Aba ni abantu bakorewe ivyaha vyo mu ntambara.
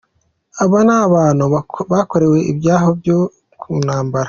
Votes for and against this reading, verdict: 0, 2, rejected